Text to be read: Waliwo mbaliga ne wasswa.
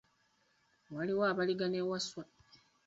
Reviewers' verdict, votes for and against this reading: rejected, 0, 2